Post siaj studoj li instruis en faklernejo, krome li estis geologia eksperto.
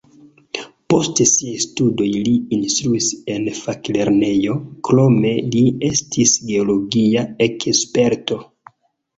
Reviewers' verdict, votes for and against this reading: rejected, 0, 2